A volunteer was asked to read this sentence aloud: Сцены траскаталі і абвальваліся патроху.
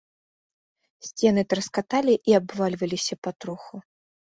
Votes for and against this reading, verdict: 2, 0, accepted